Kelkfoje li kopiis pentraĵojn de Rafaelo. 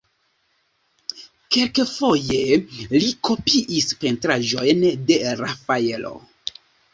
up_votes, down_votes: 2, 0